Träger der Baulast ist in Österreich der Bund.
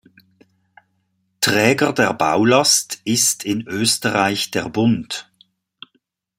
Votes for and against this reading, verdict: 2, 0, accepted